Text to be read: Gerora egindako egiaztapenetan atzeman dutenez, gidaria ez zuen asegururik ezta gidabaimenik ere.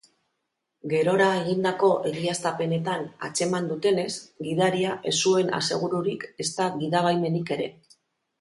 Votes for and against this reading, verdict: 2, 0, accepted